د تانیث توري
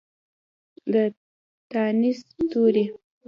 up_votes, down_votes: 1, 2